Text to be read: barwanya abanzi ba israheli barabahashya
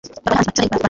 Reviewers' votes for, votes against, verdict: 2, 1, accepted